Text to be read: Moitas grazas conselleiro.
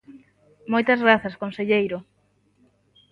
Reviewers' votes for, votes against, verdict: 3, 0, accepted